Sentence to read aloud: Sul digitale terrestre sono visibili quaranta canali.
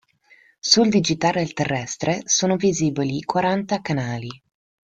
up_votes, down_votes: 2, 1